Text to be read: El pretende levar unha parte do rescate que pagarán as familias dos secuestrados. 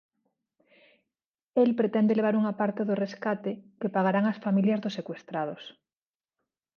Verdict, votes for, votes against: accepted, 2, 1